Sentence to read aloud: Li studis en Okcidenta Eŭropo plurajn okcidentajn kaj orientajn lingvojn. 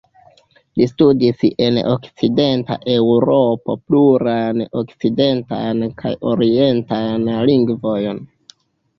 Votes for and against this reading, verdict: 2, 1, accepted